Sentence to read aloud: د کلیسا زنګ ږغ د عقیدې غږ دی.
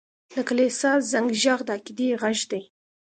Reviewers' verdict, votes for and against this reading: accepted, 2, 0